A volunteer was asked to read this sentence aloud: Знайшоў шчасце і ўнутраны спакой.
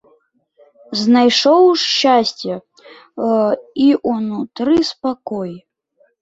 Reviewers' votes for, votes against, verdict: 0, 2, rejected